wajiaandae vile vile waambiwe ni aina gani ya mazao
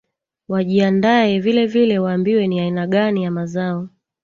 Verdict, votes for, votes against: rejected, 1, 2